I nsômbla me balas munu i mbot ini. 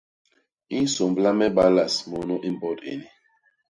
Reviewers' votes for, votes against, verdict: 2, 0, accepted